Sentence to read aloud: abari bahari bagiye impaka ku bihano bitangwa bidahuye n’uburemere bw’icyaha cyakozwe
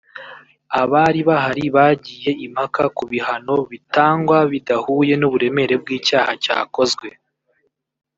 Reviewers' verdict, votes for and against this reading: rejected, 1, 2